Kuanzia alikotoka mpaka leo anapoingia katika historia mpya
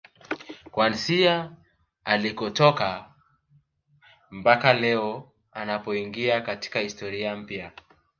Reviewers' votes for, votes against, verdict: 2, 1, accepted